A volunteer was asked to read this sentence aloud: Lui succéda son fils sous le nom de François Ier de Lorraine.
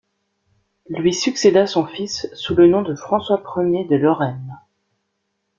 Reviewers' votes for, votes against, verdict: 2, 1, accepted